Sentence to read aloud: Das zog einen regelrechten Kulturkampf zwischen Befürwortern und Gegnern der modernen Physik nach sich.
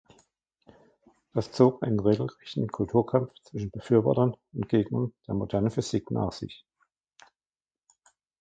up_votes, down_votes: 1, 2